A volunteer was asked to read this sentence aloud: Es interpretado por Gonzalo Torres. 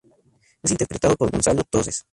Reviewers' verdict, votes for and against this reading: rejected, 0, 2